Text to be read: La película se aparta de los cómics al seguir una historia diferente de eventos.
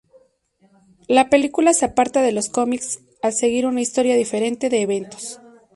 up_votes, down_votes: 0, 2